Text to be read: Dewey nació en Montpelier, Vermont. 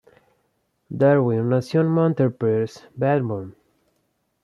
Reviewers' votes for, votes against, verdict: 0, 2, rejected